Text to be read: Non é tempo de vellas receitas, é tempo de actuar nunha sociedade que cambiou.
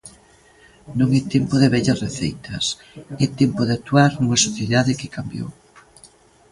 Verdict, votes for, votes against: accepted, 3, 0